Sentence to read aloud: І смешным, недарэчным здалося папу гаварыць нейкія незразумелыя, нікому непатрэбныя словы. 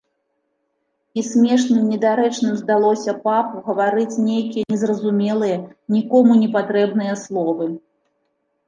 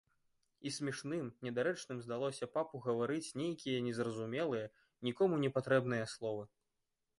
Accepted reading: first